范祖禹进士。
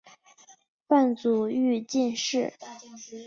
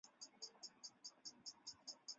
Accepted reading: first